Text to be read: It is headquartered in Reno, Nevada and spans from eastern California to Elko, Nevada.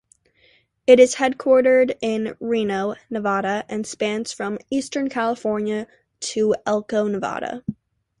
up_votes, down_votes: 2, 0